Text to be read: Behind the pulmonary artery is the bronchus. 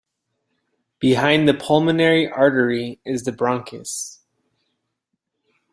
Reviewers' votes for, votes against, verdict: 2, 0, accepted